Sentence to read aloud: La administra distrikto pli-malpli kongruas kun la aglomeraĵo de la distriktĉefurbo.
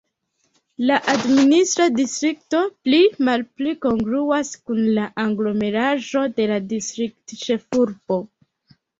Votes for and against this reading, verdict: 1, 2, rejected